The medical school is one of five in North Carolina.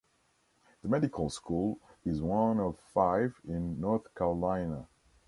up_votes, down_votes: 2, 0